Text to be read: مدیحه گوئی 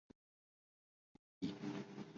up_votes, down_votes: 0, 2